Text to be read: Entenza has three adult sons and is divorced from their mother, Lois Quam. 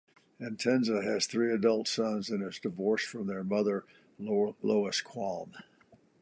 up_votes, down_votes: 0, 2